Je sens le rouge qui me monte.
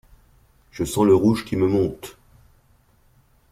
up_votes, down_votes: 2, 0